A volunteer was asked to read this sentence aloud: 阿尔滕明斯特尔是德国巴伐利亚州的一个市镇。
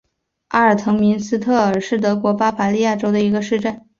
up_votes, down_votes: 3, 0